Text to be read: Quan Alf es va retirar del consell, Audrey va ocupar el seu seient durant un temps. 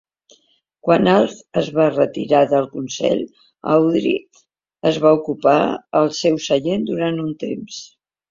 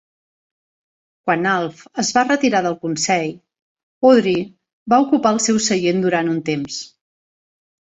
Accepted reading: second